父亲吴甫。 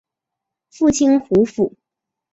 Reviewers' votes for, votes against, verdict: 2, 1, accepted